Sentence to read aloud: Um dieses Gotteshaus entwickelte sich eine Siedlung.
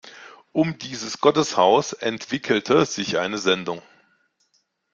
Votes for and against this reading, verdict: 1, 2, rejected